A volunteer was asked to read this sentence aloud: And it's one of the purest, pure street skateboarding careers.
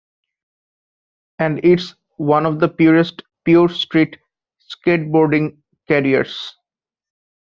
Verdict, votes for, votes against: rejected, 1, 2